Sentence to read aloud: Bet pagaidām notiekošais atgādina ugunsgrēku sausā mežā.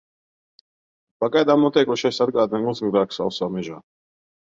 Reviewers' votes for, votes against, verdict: 0, 2, rejected